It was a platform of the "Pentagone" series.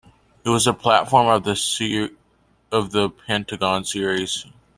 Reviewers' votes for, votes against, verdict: 0, 2, rejected